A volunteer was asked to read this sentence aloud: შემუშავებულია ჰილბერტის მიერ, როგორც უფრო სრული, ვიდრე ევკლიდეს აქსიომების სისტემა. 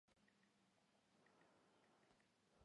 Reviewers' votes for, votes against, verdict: 0, 2, rejected